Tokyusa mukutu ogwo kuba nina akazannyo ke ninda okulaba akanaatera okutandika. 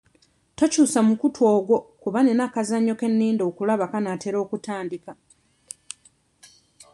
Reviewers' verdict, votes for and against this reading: accepted, 2, 1